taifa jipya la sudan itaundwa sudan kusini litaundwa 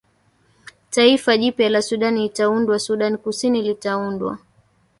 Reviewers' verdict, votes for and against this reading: accepted, 2, 1